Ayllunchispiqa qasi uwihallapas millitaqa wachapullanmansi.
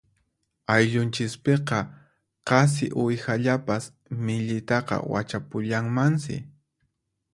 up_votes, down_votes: 4, 0